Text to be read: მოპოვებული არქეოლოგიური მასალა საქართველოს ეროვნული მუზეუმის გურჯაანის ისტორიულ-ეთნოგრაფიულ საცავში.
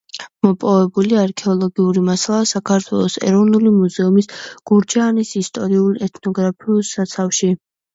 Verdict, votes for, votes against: accepted, 2, 0